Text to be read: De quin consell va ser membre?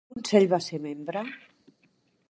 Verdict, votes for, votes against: rejected, 0, 2